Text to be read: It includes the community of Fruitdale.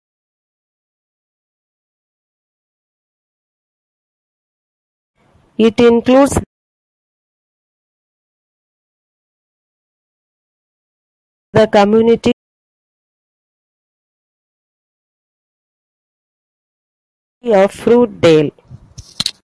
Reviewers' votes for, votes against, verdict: 0, 2, rejected